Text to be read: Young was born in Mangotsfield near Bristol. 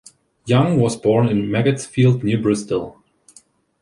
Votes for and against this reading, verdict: 2, 1, accepted